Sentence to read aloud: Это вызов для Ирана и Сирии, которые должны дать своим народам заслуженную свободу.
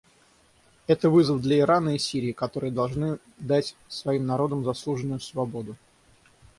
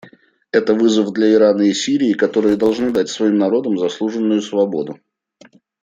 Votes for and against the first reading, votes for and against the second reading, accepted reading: 0, 6, 2, 0, second